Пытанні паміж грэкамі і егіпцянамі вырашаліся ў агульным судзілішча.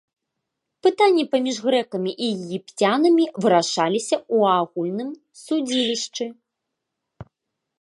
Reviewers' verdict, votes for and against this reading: rejected, 0, 2